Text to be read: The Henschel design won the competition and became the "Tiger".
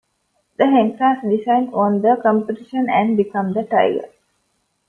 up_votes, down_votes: 1, 2